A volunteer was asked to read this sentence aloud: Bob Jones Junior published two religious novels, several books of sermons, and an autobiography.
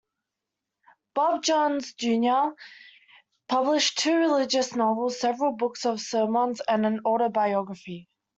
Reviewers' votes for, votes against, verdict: 2, 0, accepted